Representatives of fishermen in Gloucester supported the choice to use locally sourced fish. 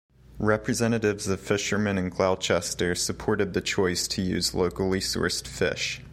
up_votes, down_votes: 1, 2